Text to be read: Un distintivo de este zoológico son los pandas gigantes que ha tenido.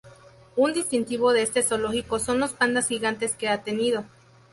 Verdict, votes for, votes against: accepted, 2, 0